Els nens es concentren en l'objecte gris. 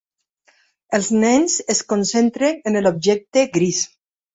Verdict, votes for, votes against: rejected, 1, 2